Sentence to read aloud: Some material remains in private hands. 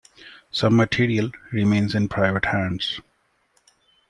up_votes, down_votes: 2, 0